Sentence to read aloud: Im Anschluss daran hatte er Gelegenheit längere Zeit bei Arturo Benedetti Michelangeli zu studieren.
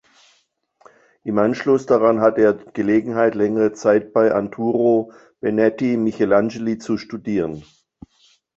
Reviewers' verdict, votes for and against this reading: rejected, 0, 3